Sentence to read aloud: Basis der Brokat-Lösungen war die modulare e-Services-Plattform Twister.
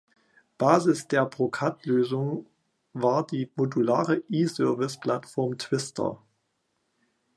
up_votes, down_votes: 0, 2